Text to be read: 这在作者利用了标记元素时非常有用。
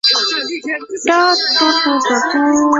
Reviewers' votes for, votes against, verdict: 0, 2, rejected